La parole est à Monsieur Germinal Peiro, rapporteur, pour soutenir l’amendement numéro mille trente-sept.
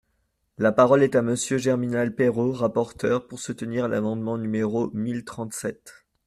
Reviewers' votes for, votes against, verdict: 2, 0, accepted